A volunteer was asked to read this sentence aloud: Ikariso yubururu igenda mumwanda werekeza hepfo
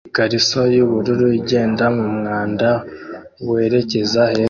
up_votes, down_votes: 0, 2